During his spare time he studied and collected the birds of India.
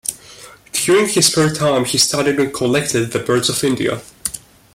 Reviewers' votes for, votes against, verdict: 2, 0, accepted